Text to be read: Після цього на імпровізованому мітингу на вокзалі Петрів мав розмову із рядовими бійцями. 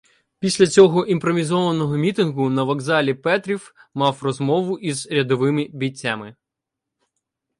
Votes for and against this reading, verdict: 1, 2, rejected